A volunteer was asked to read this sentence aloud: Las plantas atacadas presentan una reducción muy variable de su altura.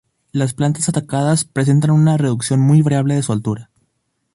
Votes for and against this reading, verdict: 0, 4, rejected